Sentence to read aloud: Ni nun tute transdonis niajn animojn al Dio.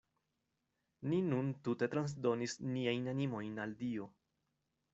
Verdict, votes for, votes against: accepted, 2, 0